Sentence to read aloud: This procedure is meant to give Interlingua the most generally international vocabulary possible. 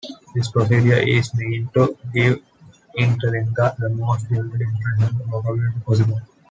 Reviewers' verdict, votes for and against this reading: rejected, 1, 2